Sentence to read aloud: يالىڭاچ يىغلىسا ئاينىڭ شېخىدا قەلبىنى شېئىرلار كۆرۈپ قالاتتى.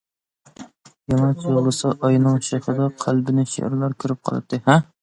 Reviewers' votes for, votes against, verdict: 1, 2, rejected